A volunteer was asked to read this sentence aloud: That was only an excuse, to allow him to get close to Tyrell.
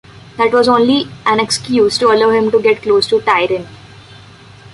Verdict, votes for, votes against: rejected, 0, 2